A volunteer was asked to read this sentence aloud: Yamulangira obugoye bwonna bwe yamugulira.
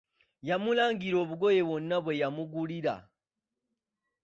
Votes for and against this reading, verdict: 2, 0, accepted